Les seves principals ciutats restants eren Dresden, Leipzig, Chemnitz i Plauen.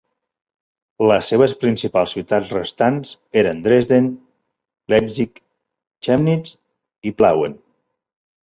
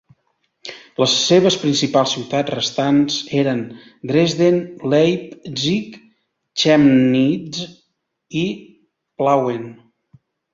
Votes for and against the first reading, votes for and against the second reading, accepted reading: 2, 0, 0, 2, first